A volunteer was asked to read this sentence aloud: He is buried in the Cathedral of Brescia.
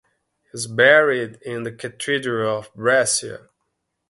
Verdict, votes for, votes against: accepted, 2, 0